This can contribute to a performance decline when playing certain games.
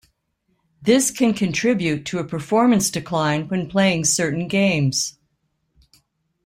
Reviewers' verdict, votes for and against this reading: accepted, 2, 0